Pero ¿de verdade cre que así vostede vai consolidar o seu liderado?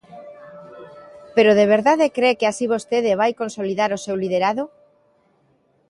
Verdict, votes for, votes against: accepted, 2, 0